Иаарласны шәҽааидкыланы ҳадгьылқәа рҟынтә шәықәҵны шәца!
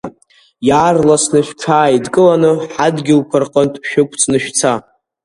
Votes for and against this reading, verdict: 2, 0, accepted